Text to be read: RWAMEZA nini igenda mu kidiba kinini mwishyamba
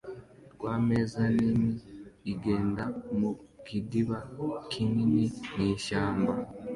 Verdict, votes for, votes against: accepted, 2, 0